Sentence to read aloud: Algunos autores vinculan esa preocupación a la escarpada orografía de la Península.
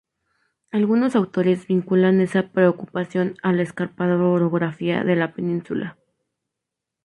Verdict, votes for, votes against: accepted, 2, 0